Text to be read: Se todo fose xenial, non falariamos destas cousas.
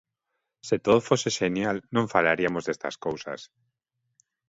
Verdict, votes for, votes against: rejected, 1, 2